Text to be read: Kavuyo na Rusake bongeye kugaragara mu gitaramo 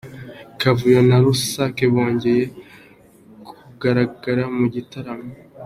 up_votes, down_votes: 1, 2